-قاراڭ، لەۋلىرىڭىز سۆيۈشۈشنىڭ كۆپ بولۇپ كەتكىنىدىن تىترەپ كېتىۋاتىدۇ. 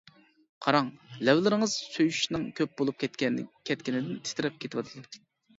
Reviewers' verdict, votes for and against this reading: rejected, 0, 2